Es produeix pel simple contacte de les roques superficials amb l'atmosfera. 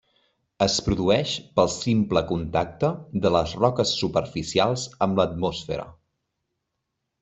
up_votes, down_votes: 1, 2